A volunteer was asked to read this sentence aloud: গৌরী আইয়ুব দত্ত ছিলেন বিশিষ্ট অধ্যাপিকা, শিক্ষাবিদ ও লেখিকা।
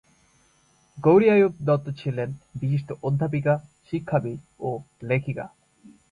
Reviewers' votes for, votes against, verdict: 2, 1, accepted